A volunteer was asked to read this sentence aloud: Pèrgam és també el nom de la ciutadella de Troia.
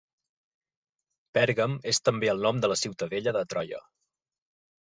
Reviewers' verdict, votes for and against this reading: accepted, 3, 0